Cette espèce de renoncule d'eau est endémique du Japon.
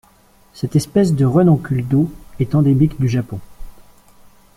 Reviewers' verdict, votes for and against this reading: accepted, 2, 0